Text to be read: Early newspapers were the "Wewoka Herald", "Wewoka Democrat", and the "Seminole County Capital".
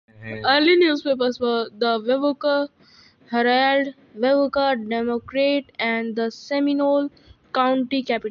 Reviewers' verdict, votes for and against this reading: rejected, 1, 2